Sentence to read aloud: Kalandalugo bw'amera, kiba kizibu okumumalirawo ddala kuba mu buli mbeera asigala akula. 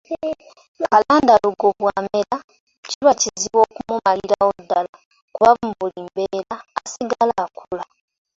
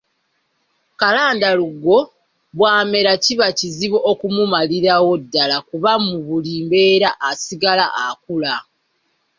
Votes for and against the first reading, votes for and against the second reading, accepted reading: 1, 2, 2, 0, second